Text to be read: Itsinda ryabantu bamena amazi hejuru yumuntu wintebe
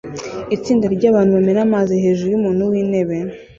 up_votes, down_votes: 2, 0